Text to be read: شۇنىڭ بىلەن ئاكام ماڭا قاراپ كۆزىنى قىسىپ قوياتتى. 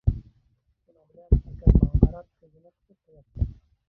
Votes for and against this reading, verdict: 0, 2, rejected